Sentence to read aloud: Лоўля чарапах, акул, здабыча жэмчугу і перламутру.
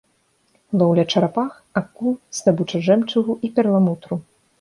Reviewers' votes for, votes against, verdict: 2, 0, accepted